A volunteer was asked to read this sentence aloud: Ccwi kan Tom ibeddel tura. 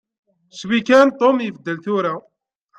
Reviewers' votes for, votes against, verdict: 2, 0, accepted